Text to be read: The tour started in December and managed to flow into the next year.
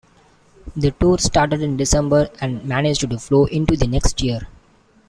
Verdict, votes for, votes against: accepted, 2, 1